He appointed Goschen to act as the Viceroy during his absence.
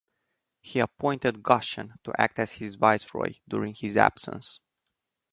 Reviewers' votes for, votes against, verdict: 0, 2, rejected